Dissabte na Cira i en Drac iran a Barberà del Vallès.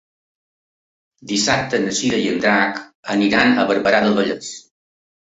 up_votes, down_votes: 0, 2